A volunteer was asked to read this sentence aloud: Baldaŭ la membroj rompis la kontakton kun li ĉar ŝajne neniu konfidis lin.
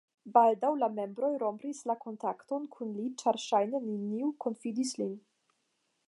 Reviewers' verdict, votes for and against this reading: accepted, 5, 0